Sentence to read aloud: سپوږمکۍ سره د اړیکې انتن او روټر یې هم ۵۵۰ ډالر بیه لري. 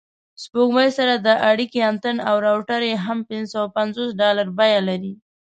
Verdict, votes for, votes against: rejected, 0, 2